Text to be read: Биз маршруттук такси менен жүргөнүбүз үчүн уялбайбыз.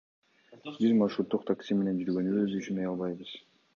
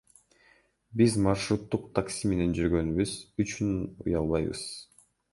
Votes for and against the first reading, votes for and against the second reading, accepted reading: 2, 0, 1, 2, first